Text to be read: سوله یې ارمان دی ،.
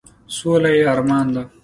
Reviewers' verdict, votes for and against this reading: accepted, 2, 0